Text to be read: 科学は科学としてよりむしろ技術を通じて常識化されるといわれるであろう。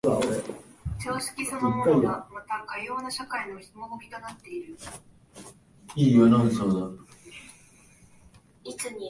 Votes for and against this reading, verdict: 1, 11, rejected